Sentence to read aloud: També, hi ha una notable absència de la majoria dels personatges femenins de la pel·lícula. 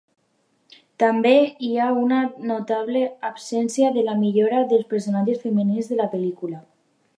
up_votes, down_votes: 0, 2